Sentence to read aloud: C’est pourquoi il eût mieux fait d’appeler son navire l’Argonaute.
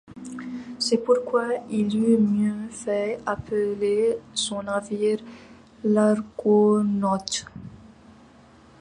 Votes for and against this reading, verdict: 1, 2, rejected